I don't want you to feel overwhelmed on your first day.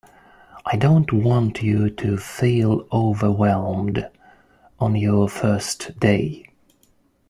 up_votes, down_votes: 2, 0